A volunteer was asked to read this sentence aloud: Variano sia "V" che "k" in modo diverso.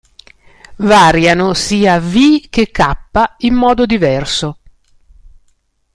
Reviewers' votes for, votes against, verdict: 2, 0, accepted